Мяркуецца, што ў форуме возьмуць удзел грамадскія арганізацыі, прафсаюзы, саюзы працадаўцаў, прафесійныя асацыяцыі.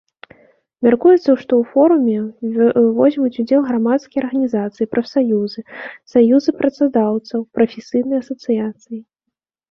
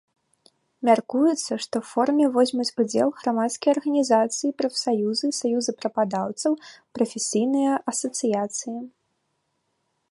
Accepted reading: second